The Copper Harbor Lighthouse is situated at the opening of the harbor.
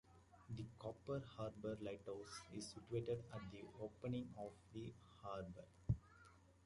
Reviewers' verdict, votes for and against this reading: rejected, 1, 2